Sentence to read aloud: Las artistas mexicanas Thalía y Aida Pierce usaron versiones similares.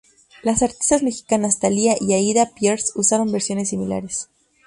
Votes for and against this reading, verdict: 2, 0, accepted